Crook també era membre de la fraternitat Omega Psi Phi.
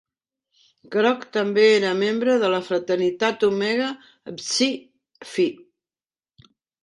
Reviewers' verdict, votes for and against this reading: accepted, 2, 1